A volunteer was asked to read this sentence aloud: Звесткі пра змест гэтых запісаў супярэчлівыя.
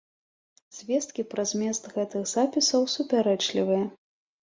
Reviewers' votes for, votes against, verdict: 3, 0, accepted